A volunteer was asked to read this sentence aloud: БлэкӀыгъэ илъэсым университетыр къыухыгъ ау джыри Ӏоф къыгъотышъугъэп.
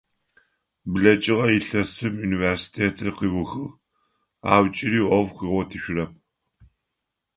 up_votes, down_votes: 1, 2